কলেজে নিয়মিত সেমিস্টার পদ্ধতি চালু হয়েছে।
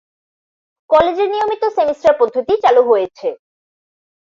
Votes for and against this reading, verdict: 24, 4, accepted